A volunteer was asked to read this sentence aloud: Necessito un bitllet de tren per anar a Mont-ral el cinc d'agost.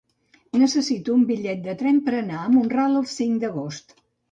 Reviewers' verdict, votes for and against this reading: accepted, 2, 0